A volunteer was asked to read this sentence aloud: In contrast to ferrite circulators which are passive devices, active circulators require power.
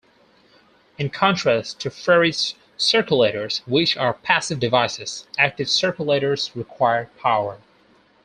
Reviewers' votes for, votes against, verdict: 2, 2, rejected